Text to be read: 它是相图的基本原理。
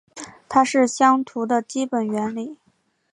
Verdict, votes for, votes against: accepted, 4, 1